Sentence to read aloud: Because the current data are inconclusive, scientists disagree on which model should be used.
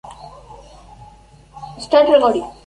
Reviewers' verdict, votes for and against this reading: rejected, 0, 2